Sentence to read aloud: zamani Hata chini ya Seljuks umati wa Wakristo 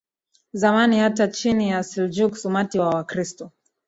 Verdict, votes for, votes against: accepted, 2, 0